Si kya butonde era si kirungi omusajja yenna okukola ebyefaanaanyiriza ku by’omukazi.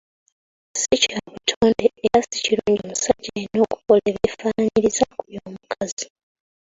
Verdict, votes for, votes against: rejected, 0, 2